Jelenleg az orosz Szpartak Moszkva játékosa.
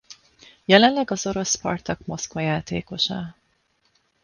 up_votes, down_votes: 2, 0